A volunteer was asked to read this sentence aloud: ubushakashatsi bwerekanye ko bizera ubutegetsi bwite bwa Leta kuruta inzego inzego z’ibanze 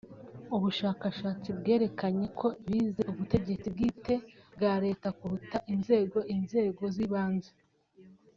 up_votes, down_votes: 0, 2